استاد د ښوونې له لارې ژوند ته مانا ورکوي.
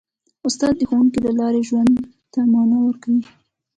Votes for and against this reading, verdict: 2, 0, accepted